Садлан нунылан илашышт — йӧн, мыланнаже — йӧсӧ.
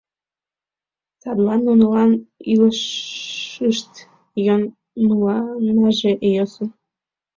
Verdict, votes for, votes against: rejected, 1, 2